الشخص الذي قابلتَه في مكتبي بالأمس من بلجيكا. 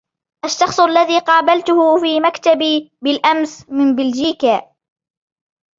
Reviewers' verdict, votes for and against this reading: rejected, 0, 2